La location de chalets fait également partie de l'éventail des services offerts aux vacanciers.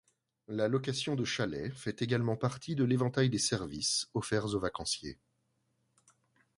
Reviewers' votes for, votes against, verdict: 2, 0, accepted